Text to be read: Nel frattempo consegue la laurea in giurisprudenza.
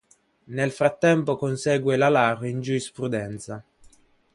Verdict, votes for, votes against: rejected, 0, 2